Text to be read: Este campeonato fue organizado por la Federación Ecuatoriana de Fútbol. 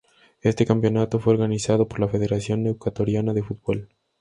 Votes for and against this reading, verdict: 2, 0, accepted